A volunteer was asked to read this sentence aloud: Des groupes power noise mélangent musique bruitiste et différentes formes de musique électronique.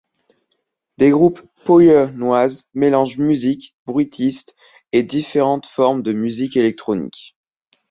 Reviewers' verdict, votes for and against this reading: rejected, 1, 3